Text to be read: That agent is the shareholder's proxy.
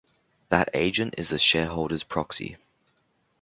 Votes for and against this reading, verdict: 2, 0, accepted